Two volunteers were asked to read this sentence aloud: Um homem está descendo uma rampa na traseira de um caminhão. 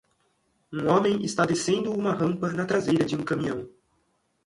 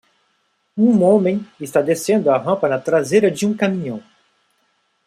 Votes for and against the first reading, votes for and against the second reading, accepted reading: 2, 0, 0, 2, first